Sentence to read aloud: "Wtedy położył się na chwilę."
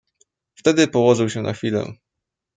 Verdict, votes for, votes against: accepted, 2, 0